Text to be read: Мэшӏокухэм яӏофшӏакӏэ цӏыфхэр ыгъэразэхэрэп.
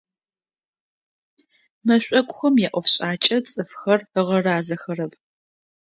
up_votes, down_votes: 2, 0